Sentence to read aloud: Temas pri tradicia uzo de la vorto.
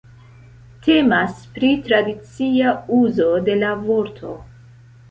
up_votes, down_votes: 1, 2